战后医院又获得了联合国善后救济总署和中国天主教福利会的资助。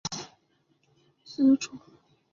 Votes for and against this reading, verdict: 0, 8, rejected